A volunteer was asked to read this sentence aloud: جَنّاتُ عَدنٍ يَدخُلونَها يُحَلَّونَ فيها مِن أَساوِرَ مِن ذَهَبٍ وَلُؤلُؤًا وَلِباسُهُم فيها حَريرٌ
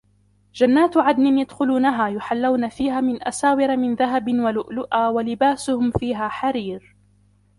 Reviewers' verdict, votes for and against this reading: rejected, 1, 2